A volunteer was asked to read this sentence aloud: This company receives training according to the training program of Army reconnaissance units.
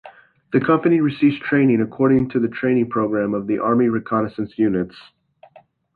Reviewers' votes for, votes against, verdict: 0, 2, rejected